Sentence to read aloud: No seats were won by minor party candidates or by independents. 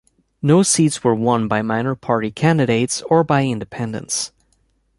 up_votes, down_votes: 2, 0